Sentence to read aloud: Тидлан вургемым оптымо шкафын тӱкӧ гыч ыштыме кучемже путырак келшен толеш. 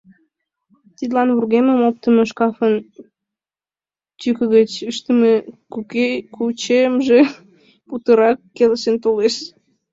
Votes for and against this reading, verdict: 0, 2, rejected